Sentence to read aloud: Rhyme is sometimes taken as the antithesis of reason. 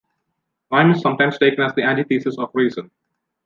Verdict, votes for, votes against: rejected, 1, 2